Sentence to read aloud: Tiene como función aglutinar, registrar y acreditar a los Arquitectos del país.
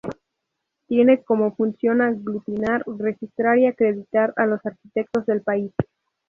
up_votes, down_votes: 0, 2